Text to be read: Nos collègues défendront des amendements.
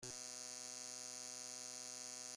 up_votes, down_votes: 0, 2